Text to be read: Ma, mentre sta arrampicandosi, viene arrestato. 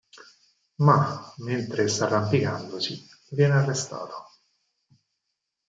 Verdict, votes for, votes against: accepted, 4, 0